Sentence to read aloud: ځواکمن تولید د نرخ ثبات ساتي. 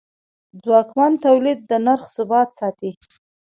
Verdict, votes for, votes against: rejected, 1, 2